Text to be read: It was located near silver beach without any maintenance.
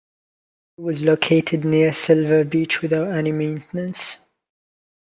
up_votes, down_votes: 2, 0